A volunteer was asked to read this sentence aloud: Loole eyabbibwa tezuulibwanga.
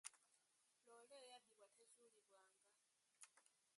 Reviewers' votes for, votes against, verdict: 1, 2, rejected